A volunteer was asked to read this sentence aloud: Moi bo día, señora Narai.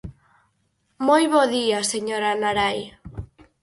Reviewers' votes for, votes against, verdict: 4, 0, accepted